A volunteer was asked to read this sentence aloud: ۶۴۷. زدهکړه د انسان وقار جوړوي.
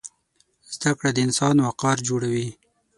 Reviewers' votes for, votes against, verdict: 0, 2, rejected